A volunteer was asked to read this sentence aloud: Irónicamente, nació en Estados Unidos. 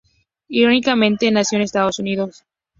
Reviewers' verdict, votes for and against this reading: rejected, 2, 2